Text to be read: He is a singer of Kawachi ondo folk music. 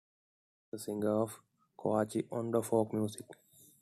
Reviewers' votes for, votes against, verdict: 2, 1, accepted